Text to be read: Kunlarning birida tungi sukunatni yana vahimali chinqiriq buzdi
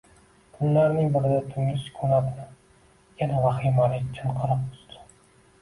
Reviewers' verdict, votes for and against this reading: rejected, 1, 2